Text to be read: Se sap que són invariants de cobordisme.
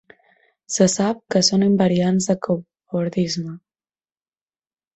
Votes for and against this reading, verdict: 1, 2, rejected